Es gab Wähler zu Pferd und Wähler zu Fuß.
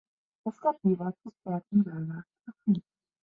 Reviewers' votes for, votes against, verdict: 0, 2, rejected